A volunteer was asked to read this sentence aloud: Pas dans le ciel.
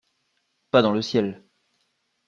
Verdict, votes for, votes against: accepted, 2, 0